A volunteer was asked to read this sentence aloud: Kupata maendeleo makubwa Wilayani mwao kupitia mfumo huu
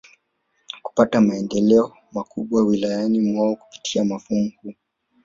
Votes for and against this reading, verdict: 2, 3, rejected